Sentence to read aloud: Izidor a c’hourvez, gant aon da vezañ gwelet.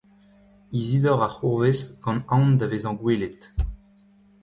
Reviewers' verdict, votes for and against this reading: rejected, 0, 2